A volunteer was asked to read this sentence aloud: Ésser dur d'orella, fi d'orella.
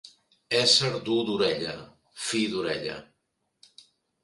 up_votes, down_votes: 2, 0